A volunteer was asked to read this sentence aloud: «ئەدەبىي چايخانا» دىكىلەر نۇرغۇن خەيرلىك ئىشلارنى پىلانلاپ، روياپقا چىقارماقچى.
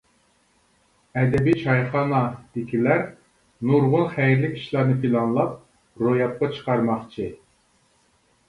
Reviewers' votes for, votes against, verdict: 2, 0, accepted